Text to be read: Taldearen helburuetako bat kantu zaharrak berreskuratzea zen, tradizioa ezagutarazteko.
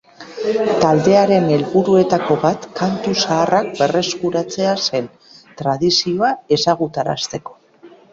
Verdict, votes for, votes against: rejected, 1, 2